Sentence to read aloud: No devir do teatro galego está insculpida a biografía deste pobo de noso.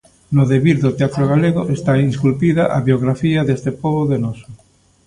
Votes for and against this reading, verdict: 1, 2, rejected